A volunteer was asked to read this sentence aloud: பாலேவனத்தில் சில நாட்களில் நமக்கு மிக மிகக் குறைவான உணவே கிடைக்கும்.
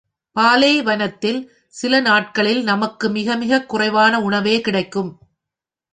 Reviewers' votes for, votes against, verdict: 0, 2, rejected